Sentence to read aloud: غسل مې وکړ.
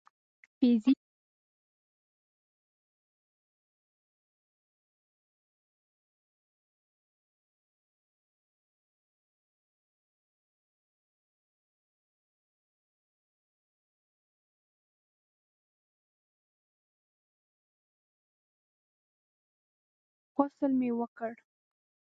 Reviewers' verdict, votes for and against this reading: rejected, 0, 2